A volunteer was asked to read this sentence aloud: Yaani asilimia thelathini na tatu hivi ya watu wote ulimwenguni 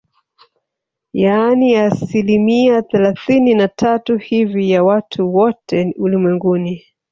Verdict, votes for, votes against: rejected, 1, 2